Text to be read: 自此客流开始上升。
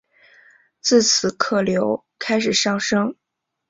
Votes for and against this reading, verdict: 9, 0, accepted